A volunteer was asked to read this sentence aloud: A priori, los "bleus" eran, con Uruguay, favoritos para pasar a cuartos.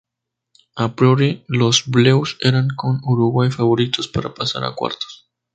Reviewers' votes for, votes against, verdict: 4, 0, accepted